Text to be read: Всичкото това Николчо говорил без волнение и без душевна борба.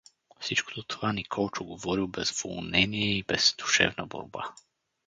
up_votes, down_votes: 0, 4